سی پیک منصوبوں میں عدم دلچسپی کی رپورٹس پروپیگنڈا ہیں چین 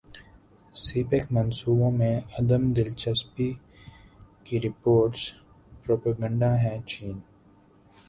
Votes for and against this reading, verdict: 1, 2, rejected